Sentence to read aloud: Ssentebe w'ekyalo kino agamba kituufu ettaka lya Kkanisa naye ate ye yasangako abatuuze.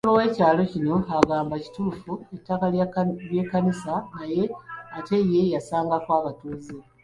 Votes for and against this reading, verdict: 2, 0, accepted